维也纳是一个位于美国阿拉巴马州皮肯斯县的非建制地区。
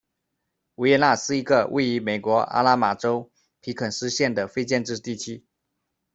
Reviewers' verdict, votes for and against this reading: rejected, 1, 2